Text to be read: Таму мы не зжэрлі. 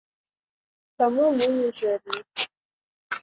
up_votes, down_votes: 0, 3